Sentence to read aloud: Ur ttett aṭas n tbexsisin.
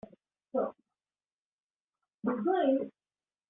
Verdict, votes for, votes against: rejected, 0, 2